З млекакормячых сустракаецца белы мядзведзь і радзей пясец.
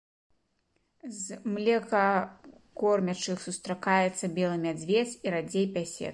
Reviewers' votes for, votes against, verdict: 2, 3, rejected